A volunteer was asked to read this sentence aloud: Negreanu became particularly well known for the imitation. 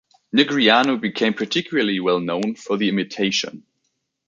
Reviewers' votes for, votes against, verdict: 2, 0, accepted